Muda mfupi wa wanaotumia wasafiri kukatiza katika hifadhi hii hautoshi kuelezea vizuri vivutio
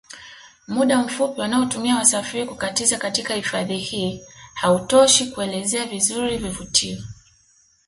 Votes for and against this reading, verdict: 2, 0, accepted